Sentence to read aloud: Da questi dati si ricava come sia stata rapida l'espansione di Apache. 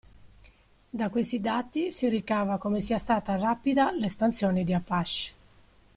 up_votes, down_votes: 2, 0